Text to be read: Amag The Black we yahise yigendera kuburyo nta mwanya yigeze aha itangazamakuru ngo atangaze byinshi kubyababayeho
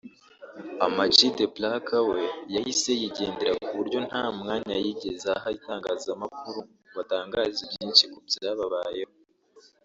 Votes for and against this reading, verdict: 2, 1, accepted